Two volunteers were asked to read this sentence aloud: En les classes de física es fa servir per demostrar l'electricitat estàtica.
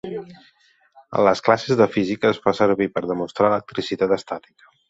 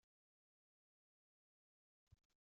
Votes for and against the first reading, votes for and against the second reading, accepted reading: 2, 1, 0, 2, first